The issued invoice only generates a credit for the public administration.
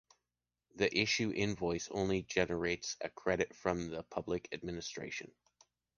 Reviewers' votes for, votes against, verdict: 1, 3, rejected